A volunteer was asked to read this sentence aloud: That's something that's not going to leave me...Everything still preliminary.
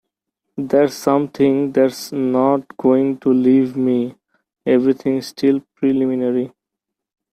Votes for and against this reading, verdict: 2, 0, accepted